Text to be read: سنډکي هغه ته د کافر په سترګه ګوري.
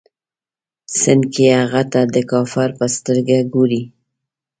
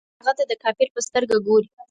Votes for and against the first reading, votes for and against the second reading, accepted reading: 2, 0, 0, 4, first